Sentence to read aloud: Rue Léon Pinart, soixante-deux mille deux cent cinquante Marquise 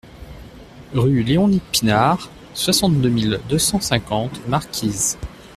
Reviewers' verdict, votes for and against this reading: rejected, 0, 2